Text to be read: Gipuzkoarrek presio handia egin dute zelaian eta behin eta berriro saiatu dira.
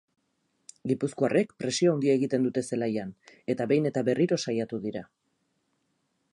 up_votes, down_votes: 2, 2